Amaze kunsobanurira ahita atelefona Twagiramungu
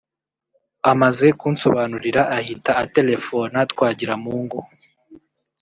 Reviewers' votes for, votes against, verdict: 1, 2, rejected